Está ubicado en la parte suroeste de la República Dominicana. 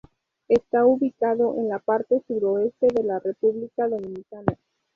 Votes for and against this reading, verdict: 2, 2, rejected